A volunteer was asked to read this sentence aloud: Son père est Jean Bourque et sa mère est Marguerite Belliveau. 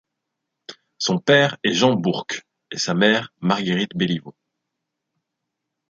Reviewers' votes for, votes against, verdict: 1, 2, rejected